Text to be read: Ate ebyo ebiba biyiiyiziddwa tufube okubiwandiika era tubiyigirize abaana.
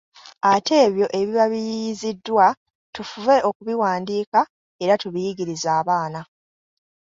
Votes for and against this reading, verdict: 2, 1, accepted